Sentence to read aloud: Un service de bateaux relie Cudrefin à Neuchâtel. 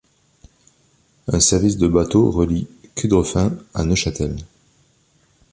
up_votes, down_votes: 2, 0